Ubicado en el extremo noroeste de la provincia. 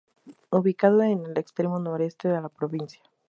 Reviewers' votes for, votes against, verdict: 0, 2, rejected